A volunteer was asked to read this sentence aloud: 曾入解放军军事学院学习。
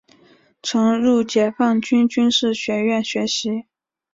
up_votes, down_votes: 3, 0